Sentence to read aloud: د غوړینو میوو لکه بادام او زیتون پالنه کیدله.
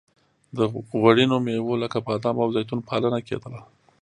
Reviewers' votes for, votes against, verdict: 2, 0, accepted